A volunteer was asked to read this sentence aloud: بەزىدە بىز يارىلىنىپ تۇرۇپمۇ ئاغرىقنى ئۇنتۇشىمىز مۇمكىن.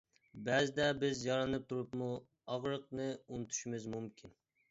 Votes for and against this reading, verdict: 0, 2, rejected